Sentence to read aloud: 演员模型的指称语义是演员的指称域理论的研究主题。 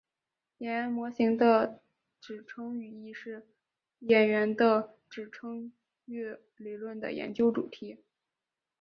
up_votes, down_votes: 2, 1